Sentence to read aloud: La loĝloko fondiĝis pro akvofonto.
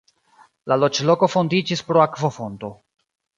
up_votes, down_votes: 2, 0